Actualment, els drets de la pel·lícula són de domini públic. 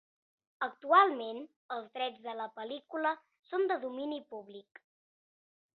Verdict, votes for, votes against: accepted, 3, 0